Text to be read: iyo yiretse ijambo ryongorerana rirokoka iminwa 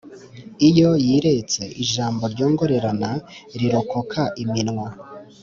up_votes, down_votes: 2, 0